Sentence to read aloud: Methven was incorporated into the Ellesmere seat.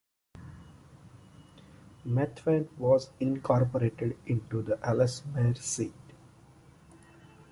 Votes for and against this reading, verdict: 2, 0, accepted